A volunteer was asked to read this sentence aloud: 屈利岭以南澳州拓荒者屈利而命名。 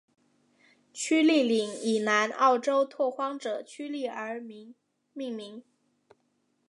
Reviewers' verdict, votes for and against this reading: accepted, 2, 1